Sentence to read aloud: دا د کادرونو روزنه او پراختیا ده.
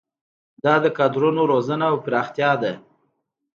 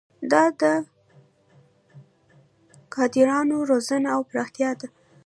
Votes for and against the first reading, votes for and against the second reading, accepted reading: 2, 0, 0, 2, first